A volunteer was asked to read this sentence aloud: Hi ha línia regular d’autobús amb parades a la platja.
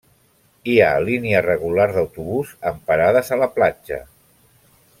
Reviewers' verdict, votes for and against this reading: accepted, 2, 1